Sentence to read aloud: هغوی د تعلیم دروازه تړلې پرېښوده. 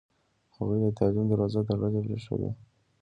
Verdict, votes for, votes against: accepted, 2, 0